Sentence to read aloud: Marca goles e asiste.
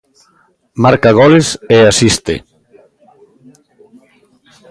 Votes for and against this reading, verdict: 1, 2, rejected